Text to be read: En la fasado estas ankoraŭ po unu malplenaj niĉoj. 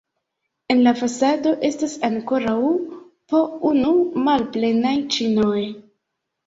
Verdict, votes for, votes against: rejected, 0, 2